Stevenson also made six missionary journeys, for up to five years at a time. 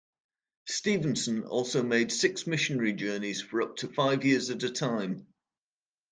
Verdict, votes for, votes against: accepted, 2, 1